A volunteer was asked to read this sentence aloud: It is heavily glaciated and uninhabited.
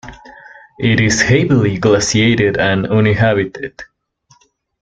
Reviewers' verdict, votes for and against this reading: rejected, 1, 2